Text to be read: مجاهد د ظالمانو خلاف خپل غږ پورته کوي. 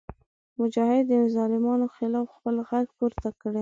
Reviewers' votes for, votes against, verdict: 0, 2, rejected